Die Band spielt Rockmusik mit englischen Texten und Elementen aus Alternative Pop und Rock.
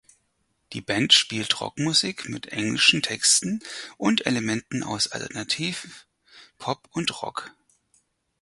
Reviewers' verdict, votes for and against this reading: rejected, 2, 4